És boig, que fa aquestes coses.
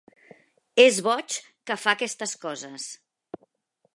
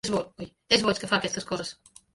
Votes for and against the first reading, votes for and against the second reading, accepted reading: 3, 0, 0, 3, first